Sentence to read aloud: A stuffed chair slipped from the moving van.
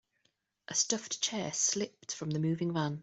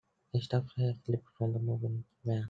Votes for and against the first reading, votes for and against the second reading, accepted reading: 2, 0, 0, 2, first